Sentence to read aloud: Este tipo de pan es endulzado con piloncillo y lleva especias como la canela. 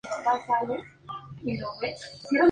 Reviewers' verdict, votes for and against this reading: rejected, 0, 2